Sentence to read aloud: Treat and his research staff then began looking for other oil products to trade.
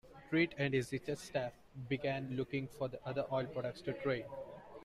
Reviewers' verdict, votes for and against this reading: rejected, 1, 2